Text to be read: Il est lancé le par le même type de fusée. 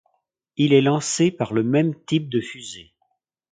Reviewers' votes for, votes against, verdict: 1, 2, rejected